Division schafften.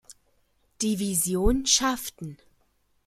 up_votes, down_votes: 2, 0